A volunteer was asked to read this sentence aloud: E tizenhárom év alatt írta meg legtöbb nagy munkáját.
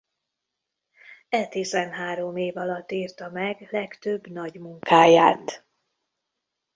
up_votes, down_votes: 2, 0